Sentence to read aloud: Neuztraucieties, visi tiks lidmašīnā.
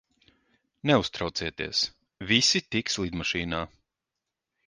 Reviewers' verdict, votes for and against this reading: accepted, 2, 0